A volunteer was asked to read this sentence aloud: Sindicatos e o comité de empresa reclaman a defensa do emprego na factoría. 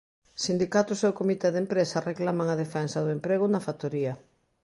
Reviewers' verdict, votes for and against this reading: accepted, 2, 0